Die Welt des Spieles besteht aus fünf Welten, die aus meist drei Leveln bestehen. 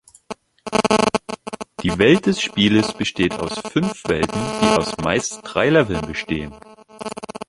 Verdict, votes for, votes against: rejected, 0, 2